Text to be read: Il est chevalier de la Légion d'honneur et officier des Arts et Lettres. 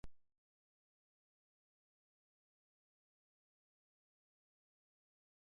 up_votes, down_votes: 0, 2